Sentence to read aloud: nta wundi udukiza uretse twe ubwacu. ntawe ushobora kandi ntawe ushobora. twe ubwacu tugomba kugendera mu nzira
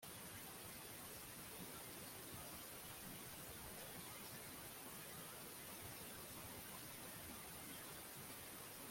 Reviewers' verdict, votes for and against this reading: rejected, 0, 2